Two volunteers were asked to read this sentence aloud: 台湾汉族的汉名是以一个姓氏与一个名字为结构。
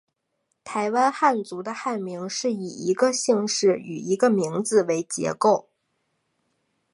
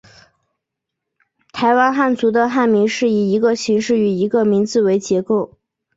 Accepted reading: first